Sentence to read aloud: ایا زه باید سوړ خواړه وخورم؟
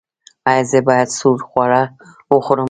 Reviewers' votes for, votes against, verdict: 0, 3, rejected